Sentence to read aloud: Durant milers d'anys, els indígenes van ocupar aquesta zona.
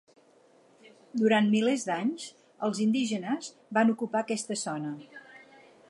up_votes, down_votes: 6, 2